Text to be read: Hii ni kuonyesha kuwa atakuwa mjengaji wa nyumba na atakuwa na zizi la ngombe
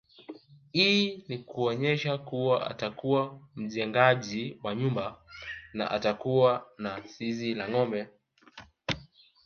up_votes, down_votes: 2, 0